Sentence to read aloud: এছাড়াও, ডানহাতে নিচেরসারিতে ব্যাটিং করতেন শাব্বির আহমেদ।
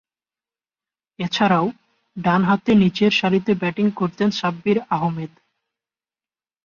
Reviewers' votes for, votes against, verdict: 4, 0, accepted